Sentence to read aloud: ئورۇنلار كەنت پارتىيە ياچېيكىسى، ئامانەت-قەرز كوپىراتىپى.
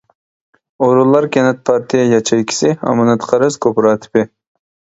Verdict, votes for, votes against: rejected, 0, 2